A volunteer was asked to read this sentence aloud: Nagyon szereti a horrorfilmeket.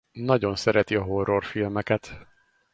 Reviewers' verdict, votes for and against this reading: accepted, 2, 0